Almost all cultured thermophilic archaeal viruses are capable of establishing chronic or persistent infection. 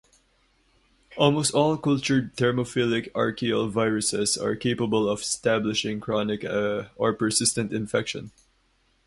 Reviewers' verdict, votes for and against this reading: rejected, 0, 2